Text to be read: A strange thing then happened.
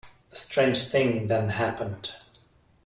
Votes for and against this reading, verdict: 2, 0, accepted